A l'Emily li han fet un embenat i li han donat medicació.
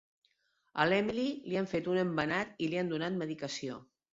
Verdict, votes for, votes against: rejected, 0, 2